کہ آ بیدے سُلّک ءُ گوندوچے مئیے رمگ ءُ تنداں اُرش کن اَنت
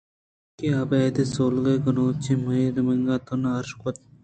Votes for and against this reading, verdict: 0, 2, rejected